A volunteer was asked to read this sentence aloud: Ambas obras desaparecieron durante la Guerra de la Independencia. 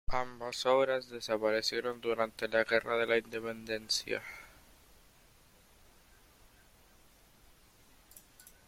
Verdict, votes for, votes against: accepted, 2, 0